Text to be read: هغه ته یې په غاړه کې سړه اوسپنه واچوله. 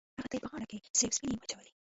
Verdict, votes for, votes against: rejected, 1, 2